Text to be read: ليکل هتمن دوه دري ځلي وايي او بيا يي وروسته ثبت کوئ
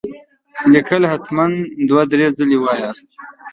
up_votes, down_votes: 0, 2